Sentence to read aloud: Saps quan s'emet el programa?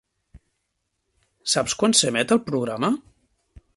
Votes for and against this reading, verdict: 5, 0, accepted